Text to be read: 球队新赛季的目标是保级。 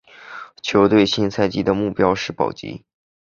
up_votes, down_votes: 2, 0